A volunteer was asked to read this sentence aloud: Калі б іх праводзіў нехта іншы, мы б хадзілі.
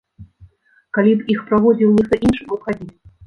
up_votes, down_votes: 0, 2